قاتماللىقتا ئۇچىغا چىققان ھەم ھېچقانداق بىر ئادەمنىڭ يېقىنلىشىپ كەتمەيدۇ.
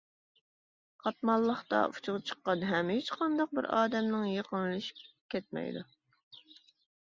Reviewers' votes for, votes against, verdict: 2, 0, accepted